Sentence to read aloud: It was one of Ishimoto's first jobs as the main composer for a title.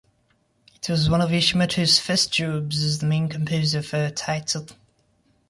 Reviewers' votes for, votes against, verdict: 1, 2, rejected